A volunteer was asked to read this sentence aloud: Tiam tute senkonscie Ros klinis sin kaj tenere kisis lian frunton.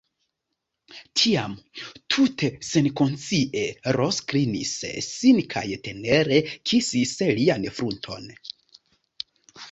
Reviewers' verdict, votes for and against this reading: accepted, 2, 1